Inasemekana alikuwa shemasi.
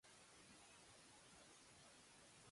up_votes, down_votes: 0, 2